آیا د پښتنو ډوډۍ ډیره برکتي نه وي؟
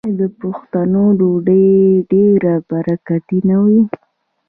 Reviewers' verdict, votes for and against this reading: rejected, 1, 2